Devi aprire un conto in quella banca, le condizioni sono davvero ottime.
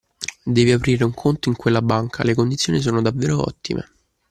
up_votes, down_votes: 2, 0